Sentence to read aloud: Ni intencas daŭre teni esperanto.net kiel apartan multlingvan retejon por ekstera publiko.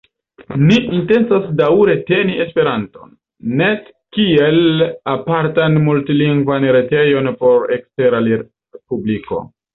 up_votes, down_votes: 1, 2